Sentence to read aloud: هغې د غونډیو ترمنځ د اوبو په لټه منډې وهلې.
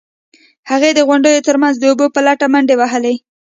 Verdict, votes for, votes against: accepted, 2, 0